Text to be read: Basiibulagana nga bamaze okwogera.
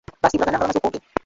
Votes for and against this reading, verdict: 0, 2, rejected